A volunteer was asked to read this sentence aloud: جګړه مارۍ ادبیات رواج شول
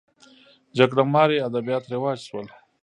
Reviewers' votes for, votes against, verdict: 0, 2, rejected